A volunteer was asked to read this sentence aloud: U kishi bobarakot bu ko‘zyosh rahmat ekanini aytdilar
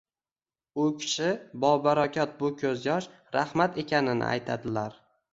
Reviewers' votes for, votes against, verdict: 1, 2, rejected